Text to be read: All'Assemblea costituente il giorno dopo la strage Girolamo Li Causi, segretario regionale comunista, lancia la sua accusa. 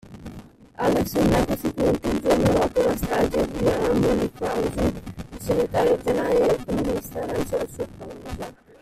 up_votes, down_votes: 1, 2